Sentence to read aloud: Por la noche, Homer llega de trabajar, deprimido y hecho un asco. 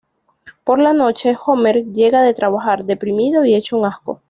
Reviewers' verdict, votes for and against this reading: accepted, 2, 0